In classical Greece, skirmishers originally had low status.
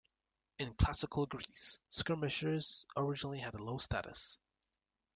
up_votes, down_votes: 2, 0